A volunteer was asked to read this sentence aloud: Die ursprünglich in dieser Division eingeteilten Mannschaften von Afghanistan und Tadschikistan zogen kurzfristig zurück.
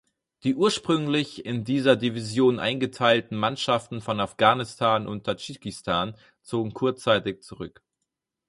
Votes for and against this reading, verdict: 2, 4, rejected